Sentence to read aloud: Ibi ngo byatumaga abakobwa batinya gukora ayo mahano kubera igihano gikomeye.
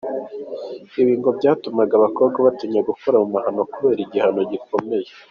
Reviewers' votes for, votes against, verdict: 2, 1, accepted